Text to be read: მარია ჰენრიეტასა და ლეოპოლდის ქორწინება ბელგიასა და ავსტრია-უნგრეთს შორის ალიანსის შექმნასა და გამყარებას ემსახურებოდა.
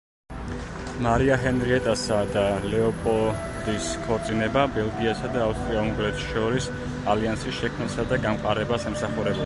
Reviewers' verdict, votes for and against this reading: rejected, 1, 2